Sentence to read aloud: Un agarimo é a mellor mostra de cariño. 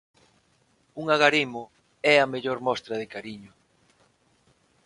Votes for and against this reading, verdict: 6, 0, accepted